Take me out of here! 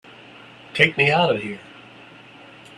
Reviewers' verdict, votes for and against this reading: accepted, 2, 0